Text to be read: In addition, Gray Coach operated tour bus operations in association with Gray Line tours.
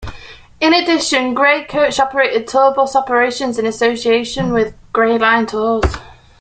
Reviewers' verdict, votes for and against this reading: accepted, 2, 0